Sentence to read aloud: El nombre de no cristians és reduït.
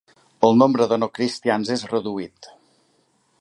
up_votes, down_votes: 3, 0